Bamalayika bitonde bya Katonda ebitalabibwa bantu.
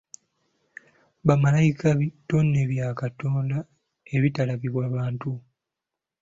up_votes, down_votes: 2, 0